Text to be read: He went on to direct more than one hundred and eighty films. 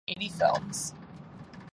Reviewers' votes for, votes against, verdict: 0, 2, rejected